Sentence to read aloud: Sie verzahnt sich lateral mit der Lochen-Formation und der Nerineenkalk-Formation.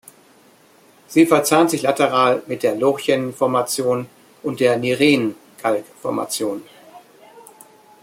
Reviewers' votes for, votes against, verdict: 2, 3, rejected